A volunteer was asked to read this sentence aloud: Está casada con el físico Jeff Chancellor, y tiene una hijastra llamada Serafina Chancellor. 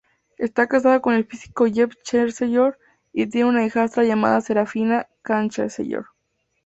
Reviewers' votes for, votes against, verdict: 2, 0, accepted